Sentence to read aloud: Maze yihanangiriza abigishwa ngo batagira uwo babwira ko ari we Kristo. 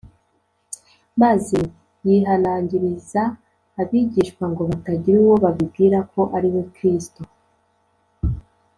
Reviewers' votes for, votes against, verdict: 0, 2, rejected